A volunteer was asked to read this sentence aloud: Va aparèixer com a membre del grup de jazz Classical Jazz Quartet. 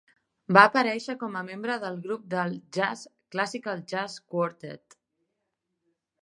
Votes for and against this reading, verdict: 4, 2, accepted